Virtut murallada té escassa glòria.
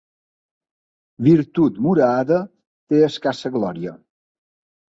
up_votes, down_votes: 0, 2